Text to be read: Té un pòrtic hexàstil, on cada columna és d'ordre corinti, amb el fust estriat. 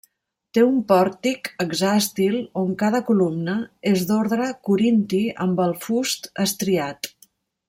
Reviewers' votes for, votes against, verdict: 1, 2, rejected